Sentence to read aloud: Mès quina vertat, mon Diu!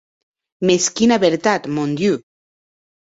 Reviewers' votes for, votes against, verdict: 2, 0, accepted